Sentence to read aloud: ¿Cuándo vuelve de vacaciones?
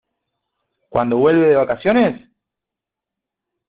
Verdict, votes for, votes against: accepted, 2, 0